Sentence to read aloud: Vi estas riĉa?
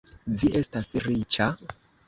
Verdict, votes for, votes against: accepted, 2, 0